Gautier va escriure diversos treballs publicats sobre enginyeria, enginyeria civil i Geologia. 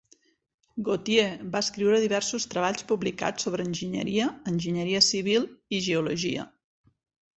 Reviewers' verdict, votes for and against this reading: accepted, 2, 1